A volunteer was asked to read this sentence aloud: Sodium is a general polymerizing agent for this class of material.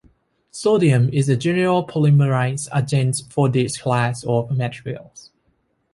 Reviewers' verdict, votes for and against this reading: rejected, 0, 2